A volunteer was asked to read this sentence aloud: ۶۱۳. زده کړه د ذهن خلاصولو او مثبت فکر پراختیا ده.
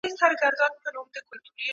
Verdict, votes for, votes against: rejected, 0, 2